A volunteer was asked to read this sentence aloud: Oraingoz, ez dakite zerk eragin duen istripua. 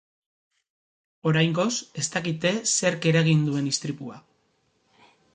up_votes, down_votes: 2, 0